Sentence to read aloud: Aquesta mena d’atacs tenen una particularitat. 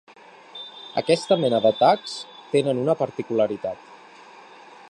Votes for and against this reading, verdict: 3, 0, accepted